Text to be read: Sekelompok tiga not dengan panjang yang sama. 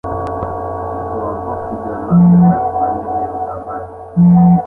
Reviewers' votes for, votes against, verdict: 0, 2, rejected